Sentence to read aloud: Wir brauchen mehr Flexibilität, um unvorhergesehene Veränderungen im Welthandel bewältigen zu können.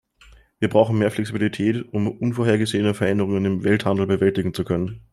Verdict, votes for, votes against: accepted, 2, 0